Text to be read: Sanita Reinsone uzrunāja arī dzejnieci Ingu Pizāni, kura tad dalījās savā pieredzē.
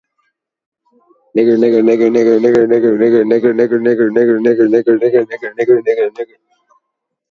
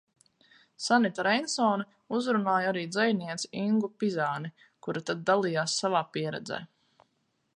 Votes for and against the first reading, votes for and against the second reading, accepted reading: 0, 2, 4, 0, second